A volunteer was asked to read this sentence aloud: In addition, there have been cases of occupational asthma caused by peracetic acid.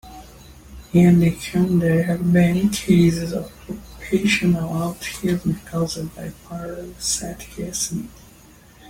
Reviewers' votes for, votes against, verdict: 0, 2, rejected